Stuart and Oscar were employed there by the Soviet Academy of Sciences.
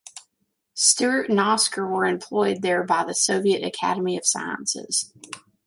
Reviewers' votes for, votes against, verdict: 2, 0, accepted